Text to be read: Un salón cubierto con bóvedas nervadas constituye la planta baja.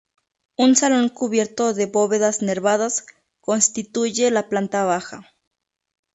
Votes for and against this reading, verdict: 0, 2, rejected